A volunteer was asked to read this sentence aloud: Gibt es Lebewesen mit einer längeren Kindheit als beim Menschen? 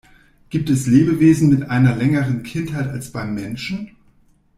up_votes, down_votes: 2, 0